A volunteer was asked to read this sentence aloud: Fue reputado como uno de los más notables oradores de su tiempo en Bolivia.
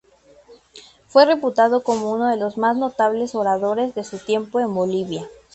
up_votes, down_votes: 2, 0